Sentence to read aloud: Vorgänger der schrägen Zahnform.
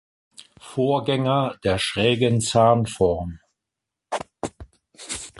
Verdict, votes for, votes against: accepted, 2, 0